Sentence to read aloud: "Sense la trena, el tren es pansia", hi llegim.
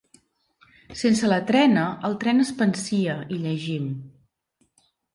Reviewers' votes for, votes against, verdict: 2, 0, accepted